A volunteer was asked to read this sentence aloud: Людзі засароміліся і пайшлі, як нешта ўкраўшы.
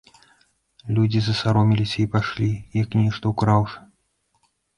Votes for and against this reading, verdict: 2, 0, accepted